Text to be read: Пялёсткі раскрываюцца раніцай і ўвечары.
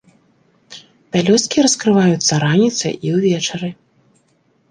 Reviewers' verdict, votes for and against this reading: accepted, 2, 0